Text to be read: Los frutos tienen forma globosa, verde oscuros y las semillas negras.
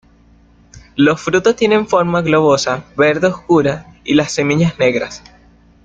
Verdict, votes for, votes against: rejected, 0, 2